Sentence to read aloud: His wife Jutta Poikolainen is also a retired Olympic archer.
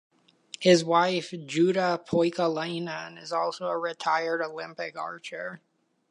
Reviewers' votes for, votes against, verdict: 2, 0, accepted